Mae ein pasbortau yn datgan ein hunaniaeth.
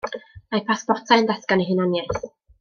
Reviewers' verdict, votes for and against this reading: rejected, 1, 2